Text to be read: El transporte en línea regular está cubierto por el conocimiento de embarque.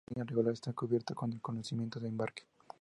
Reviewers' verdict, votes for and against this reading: rejected, 0, 2